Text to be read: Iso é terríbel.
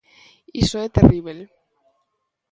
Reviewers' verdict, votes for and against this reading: accepted, 2, 0